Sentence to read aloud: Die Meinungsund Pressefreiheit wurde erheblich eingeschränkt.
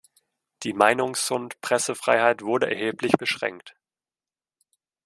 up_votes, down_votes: 0, 2